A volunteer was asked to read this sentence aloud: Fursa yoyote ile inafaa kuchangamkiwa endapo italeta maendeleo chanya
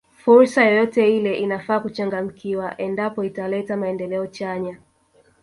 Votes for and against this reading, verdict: 0, 2, rejected